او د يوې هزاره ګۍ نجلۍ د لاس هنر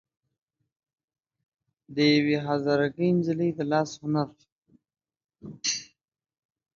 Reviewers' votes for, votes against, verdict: 2, 0, accepted